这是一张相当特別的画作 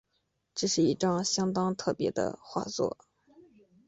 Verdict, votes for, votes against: accepted, 3, 0